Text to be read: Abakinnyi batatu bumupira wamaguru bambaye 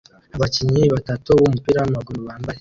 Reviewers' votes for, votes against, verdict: 2, 0, accepted